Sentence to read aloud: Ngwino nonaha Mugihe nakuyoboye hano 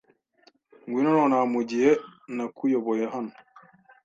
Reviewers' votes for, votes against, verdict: 2, 0, accepted